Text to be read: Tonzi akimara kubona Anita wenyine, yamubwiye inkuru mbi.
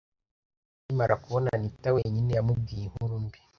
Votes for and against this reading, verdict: 0, 2, rejected